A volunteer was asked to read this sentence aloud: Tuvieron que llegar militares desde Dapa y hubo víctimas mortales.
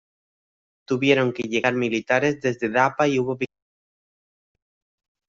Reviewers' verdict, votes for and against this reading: rejected, 1, 2